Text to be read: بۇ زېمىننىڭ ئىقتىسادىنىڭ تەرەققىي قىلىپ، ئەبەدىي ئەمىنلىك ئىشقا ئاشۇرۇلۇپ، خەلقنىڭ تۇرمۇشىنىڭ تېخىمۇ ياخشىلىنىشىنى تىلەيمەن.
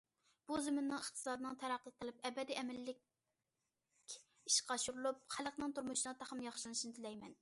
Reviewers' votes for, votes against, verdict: 0, 2, rejected